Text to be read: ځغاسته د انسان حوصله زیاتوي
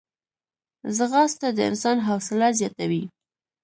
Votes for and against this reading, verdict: 3, 0, accepted